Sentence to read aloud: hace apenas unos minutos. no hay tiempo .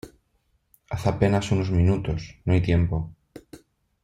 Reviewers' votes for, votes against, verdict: 2, 0, accepted